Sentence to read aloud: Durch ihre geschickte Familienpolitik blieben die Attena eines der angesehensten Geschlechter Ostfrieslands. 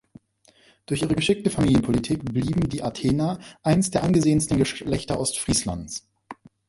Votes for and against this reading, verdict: 0, 2, rejected